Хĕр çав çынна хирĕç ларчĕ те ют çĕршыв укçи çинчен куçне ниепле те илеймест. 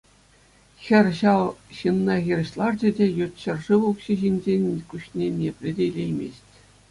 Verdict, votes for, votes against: accepted, 2, 0